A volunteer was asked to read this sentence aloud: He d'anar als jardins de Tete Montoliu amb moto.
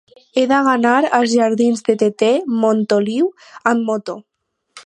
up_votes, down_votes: 2, 4